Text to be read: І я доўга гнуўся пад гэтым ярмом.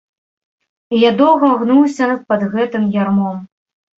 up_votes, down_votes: 1, 2